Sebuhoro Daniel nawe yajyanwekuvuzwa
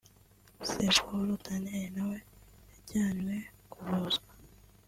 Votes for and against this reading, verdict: 1, 2, rejected